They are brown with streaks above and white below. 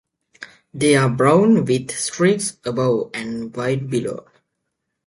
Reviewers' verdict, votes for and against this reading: accepted, 2, 0